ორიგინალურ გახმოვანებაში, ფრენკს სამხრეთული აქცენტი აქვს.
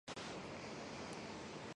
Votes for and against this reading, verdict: 0, 2, rejected